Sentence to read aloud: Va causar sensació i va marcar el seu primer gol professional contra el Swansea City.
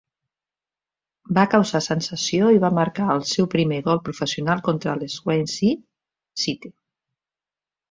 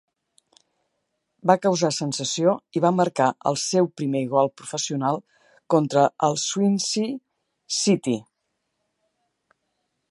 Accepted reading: second